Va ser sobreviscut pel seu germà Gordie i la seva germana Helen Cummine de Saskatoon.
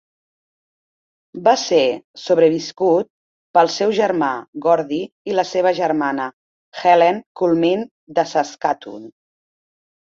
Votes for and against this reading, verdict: 2, 0, accepted